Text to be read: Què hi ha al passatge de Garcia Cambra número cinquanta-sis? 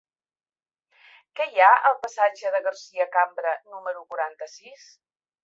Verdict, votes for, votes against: rejected, 0, 3